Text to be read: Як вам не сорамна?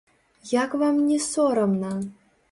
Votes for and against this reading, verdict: 0, 3, rejected